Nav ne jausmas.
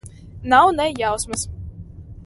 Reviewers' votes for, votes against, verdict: 2, 0, accepted